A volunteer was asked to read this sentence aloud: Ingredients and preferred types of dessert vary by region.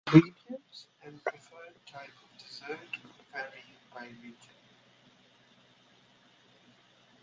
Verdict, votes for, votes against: rejected, 0, 2